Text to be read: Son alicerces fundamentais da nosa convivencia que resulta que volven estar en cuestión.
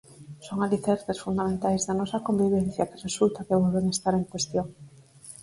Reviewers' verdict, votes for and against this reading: accepted, 4, 0